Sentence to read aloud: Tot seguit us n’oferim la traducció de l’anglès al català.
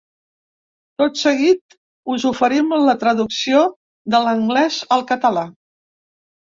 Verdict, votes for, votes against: rejected, 0, 3